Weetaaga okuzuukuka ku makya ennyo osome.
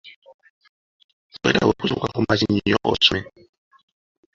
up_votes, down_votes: 2, 0